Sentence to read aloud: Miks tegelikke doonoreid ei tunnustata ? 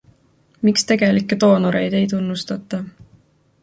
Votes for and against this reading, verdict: 2, 0, accepted